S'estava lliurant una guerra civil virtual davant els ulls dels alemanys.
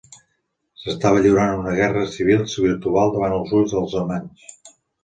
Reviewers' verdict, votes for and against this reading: rejected, 1, 2